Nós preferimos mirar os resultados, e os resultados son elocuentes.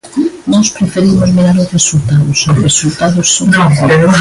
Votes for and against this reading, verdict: 0, 2, rejected